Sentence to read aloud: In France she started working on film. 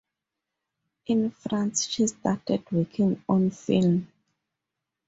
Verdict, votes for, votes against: accepted, 2, 0